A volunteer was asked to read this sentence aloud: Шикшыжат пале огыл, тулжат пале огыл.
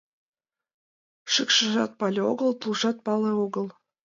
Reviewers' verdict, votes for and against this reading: rejected, 1, 2